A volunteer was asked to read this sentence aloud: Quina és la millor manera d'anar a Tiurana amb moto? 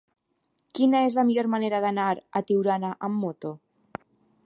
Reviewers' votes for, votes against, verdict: 3, 0, accepted